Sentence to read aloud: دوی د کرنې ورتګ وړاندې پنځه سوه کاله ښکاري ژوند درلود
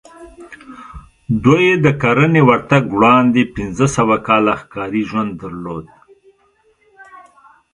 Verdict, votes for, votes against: accepted, 2, 0